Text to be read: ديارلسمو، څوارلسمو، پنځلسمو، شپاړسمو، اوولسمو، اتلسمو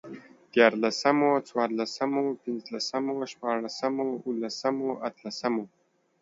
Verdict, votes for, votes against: accepted, 3, 0